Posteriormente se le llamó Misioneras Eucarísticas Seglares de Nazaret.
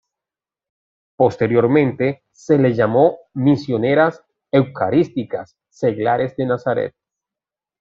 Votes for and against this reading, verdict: 2, 0, accepted